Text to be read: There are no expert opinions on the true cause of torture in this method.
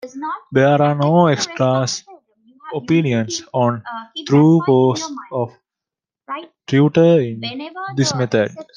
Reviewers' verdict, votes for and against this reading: rejected, 0, 2